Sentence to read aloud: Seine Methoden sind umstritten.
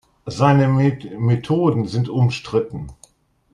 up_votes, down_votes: 1, 2